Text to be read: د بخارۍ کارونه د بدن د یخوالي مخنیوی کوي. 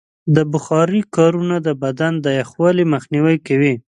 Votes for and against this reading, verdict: 1, 2, rejected